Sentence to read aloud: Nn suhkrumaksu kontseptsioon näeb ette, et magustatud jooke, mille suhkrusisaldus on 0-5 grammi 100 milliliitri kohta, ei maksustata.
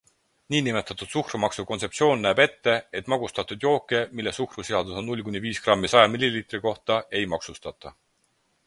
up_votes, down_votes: 0, 2